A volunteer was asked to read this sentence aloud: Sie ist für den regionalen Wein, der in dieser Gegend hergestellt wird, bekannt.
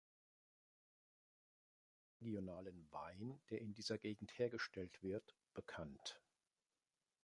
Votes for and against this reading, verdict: 1, 2, rejected